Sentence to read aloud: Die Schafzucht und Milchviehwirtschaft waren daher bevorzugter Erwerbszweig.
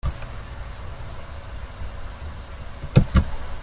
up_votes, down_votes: 0, 2